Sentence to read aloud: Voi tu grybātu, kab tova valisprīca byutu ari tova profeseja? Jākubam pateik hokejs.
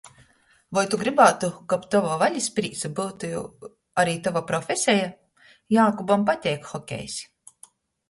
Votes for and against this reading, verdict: 0, 2, rejected